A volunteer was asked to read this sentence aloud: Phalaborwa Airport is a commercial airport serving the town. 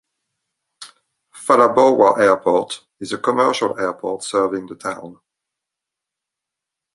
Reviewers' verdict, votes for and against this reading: accepted, 3, 0